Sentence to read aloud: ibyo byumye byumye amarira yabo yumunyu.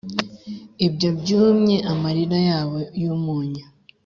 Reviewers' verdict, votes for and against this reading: accepted, 2, 0